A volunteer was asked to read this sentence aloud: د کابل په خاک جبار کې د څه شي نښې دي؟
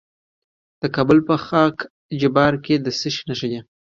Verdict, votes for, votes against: accepted, 2, 0